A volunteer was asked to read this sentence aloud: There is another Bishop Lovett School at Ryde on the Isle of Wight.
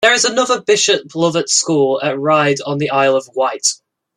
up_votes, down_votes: 2, 1